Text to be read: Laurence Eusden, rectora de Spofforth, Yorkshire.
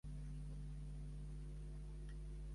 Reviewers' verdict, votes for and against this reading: rejected, 0, 3